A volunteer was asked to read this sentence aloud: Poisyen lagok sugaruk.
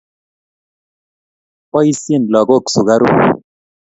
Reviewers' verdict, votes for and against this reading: accepted, 2, 0